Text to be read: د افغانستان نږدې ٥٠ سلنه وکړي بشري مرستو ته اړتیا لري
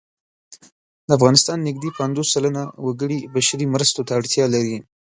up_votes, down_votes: 0, 2